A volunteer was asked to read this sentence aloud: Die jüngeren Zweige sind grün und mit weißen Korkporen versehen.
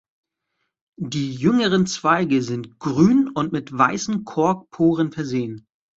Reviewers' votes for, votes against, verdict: 2, 0, accepted